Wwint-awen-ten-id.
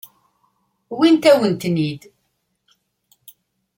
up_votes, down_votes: 2, 1